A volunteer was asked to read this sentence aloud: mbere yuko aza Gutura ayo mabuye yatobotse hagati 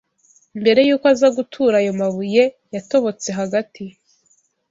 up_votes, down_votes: 2, 0